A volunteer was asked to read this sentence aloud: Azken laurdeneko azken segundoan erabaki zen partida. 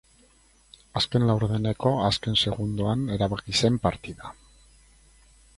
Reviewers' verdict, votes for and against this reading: accepted, 4, 0